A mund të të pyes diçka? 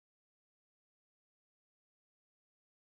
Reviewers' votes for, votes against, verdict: 0, 2, rejected